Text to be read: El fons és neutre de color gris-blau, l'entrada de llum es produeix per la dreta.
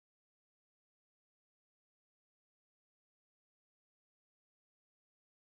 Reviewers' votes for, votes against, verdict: 0, 2, rejected